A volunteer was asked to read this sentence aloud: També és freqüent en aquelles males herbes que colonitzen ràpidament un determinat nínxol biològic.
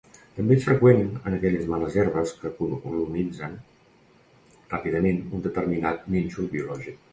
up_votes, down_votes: 1, 2